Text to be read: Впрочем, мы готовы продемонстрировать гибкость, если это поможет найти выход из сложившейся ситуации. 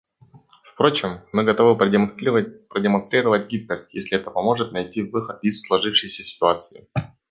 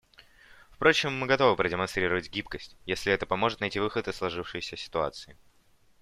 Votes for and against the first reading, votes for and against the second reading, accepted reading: 1, 2, 2, 0, second